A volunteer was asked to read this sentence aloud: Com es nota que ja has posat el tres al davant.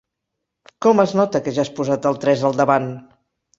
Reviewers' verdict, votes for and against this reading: accepted, 3, 0